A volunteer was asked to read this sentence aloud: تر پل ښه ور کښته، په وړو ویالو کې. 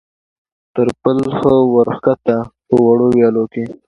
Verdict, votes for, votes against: accepted, 2, 0